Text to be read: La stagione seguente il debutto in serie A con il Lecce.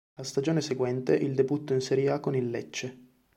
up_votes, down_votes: 2, 0